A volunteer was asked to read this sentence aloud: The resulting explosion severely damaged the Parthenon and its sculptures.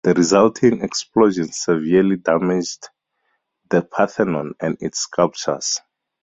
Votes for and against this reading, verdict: 2, 0, accepted